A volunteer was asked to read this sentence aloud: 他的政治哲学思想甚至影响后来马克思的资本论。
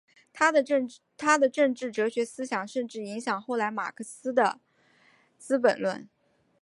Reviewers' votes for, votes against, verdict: 0, 3, rejected